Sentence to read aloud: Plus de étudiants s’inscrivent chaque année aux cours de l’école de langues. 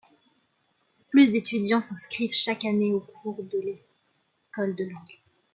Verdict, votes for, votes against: accepted, 2, 1